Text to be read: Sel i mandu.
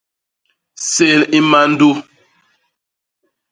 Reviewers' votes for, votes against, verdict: 0, 2, rejected